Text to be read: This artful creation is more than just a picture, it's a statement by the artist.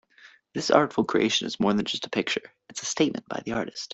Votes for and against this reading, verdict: 2, 0, accepted